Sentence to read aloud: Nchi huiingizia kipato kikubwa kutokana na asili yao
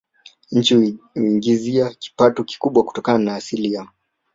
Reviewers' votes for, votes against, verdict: 0, 2, rejected